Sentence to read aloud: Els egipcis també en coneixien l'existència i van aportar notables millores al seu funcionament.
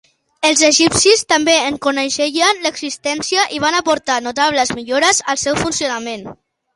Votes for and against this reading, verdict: 3, 4, rejected